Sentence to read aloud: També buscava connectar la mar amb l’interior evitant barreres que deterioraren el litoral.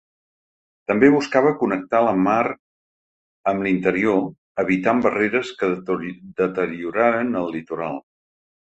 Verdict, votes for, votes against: rejected, 1, 3